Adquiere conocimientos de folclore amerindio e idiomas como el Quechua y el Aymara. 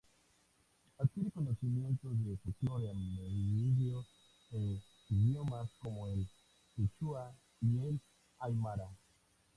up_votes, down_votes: 0, 2